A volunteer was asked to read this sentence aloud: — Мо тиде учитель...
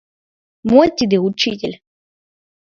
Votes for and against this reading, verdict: 2, 0, accepted